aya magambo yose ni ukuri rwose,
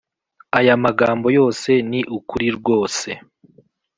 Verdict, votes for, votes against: accepted, 2, 0